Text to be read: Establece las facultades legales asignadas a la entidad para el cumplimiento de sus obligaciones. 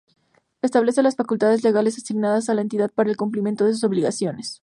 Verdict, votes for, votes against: accepted, 2, 0